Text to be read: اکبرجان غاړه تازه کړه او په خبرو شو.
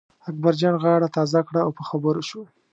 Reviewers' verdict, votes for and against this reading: accepted, 2, 0